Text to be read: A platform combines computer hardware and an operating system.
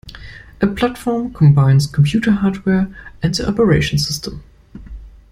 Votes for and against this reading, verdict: 1, 2, rejected